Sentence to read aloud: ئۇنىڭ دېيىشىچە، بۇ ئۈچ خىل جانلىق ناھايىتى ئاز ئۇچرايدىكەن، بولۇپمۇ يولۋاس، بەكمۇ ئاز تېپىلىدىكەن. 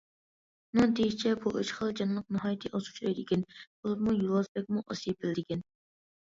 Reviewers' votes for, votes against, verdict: 1, 2, rejected